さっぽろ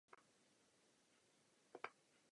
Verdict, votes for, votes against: rejected, 0, 2